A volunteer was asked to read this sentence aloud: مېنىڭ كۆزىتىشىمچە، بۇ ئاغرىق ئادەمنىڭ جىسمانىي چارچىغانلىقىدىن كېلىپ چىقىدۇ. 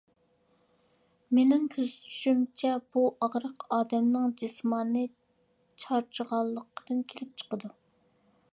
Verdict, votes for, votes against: accepted, 2, 0